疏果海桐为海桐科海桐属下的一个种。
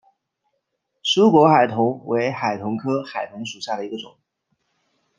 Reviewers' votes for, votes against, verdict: 2, 0, accepted